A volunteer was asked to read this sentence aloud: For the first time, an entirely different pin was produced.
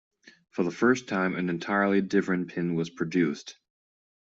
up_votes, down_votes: 2, 1